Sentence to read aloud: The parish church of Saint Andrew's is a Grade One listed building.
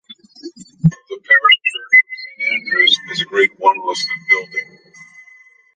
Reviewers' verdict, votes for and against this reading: rejected, 0, 2